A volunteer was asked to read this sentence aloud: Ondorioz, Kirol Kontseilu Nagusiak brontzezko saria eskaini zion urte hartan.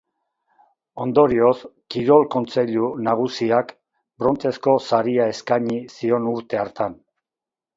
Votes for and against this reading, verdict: 4, 0, accepted